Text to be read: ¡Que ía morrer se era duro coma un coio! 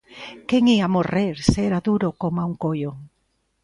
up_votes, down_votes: 0, 2